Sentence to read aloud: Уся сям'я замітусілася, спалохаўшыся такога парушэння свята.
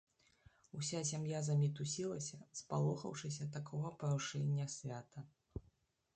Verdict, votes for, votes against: rejected, 1, 2